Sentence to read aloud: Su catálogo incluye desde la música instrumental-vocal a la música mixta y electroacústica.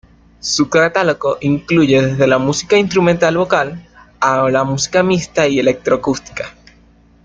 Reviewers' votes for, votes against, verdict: 1, 2, rejected